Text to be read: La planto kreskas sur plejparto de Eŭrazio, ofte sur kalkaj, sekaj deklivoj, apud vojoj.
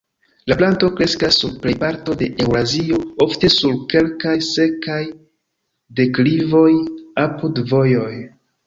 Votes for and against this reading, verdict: 0, 2, rejected